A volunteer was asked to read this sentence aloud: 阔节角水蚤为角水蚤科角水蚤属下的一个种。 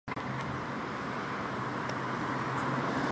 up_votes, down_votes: 2, 4